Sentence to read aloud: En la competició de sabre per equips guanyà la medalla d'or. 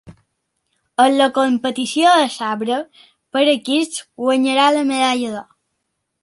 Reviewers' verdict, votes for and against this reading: rejected, 0, 2